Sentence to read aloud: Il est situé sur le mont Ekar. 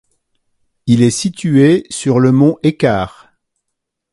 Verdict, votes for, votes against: accepted, 2, 0